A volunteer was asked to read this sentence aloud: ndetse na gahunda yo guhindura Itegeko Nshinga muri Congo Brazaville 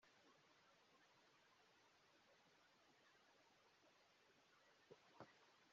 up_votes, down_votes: 0, 2